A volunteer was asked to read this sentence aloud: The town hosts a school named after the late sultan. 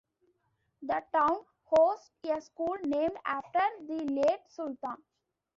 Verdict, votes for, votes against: rejected, 0, 2